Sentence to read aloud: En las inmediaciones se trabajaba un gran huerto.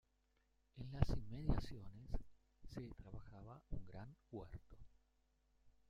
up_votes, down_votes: 0, 2